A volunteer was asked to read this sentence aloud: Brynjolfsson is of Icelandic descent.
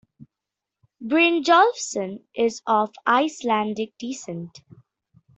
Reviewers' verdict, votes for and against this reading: rejected, 1, 2